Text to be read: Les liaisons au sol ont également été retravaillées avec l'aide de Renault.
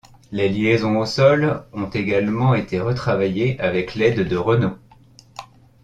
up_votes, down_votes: 2, 0